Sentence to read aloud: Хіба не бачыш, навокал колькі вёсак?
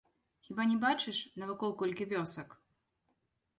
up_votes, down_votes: 1, 2